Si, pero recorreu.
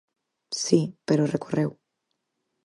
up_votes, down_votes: 4, 0